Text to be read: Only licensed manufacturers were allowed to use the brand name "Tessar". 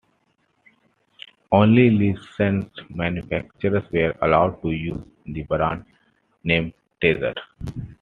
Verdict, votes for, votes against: accepted, 2, 0